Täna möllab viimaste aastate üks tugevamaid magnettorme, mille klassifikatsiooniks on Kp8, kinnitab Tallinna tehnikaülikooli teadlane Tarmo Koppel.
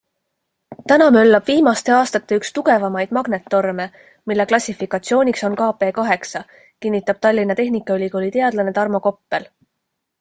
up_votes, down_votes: 0, 2